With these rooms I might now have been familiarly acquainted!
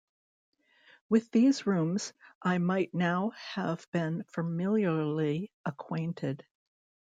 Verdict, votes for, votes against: accepted, 2, 0